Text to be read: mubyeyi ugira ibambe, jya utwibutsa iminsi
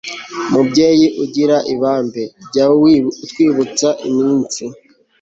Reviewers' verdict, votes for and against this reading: rejected, 1, 2